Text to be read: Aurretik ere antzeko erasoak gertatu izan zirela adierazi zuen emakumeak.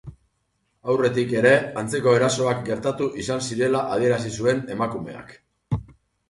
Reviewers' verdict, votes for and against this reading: accepted, 2, 0